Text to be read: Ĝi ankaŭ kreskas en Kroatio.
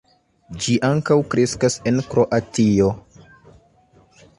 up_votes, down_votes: 2, 0